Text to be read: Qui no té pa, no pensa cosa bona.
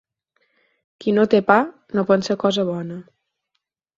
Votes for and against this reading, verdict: 4, 2, accepted